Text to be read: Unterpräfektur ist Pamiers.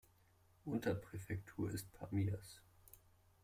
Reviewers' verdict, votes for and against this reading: accepted, 2, 0